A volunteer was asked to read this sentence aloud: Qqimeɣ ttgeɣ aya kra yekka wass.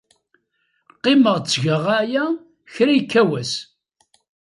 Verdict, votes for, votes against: accepted, 2, 0